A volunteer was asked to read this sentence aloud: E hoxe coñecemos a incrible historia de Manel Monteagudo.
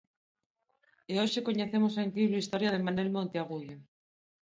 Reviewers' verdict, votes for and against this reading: accepted, 2, 0